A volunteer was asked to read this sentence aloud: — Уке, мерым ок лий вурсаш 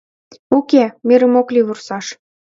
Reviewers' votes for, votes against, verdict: 2, 1, accepted